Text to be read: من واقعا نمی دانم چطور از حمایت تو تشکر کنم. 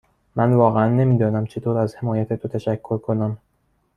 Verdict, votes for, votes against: accepted, 2, 0